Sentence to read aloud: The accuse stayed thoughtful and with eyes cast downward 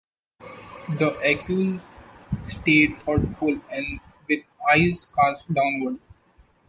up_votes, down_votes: 2, 0